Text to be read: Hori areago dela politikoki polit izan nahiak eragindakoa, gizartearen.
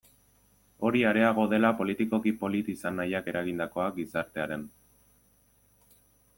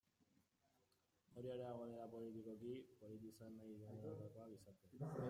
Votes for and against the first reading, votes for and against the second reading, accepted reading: 2, 0, 0, 2, first